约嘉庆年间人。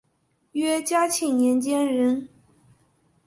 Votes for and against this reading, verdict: 2, 0, accepted